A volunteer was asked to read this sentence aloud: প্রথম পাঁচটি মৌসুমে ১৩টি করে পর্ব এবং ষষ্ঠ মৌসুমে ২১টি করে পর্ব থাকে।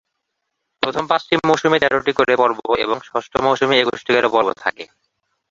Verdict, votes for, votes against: rejected, 0, 2